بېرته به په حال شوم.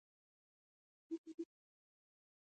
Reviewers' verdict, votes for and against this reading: rejected, 0, 2